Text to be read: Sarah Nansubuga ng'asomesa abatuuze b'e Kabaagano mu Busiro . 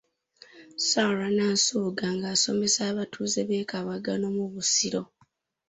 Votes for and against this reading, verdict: 2, 0, accepted